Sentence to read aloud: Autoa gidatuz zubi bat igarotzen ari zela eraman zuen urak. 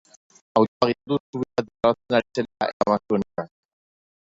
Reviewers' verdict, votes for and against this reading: rejected, 0, 2